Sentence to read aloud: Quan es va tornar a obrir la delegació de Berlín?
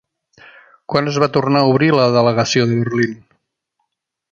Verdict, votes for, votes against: rejected, 0, 2